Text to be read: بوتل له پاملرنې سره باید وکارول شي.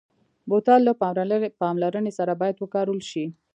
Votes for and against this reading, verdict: 1, 2, rejected